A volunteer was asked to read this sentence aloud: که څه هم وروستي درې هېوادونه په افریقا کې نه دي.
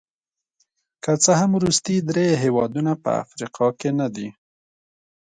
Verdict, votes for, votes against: accepted, 2, 0